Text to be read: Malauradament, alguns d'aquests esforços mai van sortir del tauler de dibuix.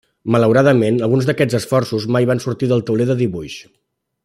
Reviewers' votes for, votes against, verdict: 2, 0, accepted